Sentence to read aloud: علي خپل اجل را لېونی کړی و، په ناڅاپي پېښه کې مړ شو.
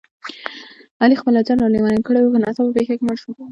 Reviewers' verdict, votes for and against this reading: accepted, 2, 0